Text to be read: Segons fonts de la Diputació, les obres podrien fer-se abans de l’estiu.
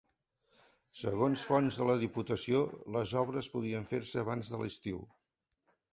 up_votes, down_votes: 4, 2